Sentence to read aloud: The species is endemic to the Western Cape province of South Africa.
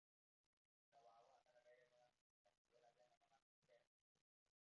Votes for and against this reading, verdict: 0, 2, rejected